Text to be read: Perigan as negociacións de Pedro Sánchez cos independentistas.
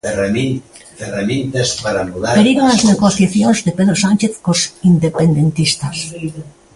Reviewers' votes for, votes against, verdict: 0, 2, rejected